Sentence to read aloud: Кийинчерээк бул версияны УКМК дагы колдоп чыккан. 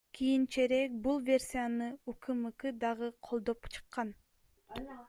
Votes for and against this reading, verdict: 1, 2, rejected